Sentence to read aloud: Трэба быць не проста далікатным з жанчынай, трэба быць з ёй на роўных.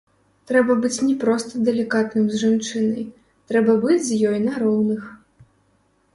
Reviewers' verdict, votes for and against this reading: rejected, 1, 2